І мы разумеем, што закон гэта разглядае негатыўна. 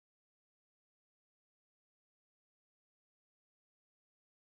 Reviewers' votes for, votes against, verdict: 0, 2, rejected